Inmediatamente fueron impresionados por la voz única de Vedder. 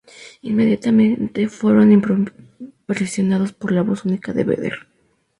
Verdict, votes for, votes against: rejected, 0, 2